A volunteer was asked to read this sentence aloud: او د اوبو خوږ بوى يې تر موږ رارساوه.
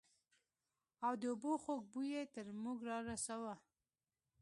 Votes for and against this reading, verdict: 2, 0, accepted